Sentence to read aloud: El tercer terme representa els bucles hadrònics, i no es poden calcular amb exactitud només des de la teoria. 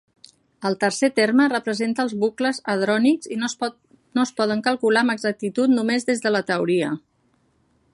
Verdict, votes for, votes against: rejected, 0, 2